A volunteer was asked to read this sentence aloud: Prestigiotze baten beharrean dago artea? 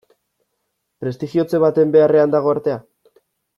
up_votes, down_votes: 2, 0